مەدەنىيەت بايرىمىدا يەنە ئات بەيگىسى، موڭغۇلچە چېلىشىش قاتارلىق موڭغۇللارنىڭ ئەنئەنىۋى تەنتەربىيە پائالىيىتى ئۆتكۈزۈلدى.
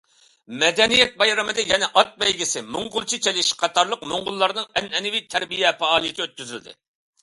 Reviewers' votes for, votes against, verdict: 2, 0, accepted